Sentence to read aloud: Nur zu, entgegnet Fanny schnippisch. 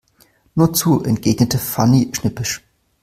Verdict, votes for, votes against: accepted, 2, 1